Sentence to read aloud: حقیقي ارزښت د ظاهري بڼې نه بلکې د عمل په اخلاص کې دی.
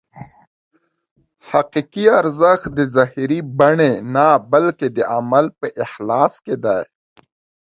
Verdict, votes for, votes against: accepted, 2, 0